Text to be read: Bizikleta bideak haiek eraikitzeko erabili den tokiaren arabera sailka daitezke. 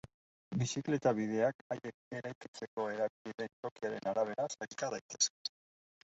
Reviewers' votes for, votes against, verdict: 1, 2, rejected